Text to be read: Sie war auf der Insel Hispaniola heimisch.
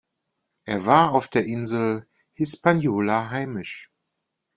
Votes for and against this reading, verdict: 1, 2, rejected